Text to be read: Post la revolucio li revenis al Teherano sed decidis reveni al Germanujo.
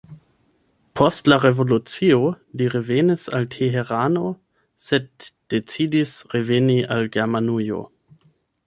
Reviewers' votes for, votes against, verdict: 4, 8, rejected